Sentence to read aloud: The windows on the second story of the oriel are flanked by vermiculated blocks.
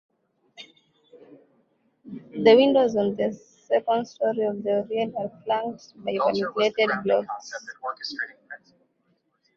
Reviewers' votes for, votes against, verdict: 0, 2, rejected